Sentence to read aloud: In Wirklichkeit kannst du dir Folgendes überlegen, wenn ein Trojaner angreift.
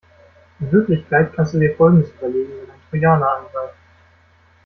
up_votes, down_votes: 0, 2